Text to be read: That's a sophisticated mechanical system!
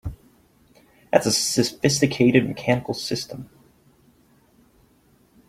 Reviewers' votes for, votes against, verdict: 3, 4, rejected